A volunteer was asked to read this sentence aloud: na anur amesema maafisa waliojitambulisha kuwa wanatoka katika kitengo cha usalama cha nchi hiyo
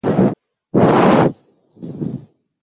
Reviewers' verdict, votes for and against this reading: rejected, 0, 2